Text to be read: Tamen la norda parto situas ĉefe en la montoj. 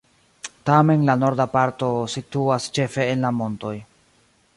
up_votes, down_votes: 3, 1